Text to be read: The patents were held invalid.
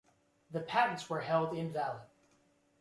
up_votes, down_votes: 2, 0